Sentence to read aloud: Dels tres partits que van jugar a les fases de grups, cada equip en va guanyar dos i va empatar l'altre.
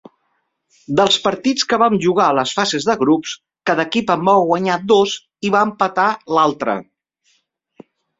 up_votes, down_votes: 1, 2